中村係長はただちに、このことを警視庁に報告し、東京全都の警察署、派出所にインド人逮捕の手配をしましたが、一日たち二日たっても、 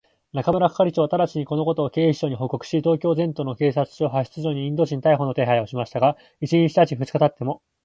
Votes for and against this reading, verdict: 2, 0, accepted